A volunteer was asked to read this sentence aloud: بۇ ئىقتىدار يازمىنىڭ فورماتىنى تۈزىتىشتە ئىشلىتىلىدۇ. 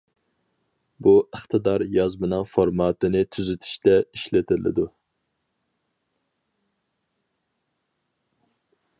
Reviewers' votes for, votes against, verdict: 4, 0, accepted